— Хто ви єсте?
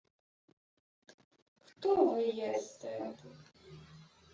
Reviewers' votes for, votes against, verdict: 2, 1, accepted